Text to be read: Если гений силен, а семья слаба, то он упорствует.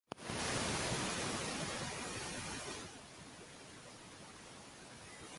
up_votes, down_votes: 0, 2